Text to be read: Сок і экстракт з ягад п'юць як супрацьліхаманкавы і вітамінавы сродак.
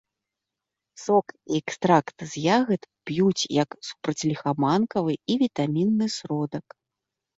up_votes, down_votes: 1, 2